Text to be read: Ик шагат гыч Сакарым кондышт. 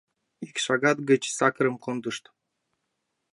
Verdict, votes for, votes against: rejected, 0, 2